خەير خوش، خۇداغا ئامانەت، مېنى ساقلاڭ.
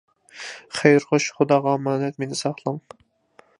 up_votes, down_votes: 2, 0